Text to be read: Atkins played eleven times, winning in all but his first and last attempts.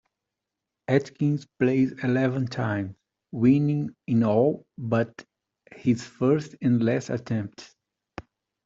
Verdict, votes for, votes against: accepted, 2, 0